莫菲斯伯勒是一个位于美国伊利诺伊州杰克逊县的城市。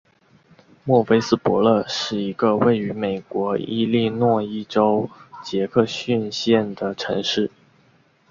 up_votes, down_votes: 2, 0